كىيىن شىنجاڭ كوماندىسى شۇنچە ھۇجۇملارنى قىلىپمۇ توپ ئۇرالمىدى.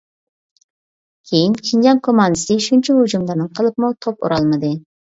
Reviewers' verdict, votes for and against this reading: rejected, 0, 2